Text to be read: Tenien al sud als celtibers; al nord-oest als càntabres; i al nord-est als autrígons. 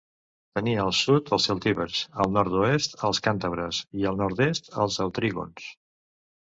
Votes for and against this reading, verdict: 1, 2, rejected